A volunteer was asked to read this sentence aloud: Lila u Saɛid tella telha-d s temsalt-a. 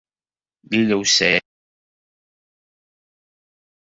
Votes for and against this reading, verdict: 0, 2, rejected